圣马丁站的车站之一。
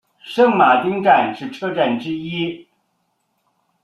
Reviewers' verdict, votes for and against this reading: rejected, 1, 2